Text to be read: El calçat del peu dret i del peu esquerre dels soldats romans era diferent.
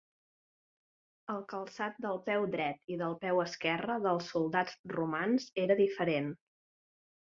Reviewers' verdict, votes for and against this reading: accepted, 4, 1